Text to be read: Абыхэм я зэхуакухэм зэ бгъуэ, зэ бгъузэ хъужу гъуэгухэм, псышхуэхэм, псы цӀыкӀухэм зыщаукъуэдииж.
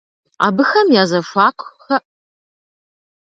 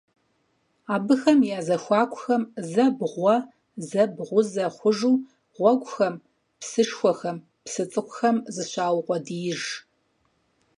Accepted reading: second